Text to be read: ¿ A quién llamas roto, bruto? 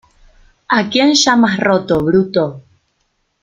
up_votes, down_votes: 2, 1